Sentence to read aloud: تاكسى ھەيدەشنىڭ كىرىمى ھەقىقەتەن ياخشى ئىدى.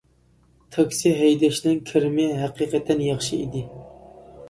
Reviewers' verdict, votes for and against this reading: accepted, 2, 0